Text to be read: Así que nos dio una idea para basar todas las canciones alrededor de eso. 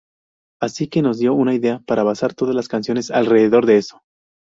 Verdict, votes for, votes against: accepted, 2, 0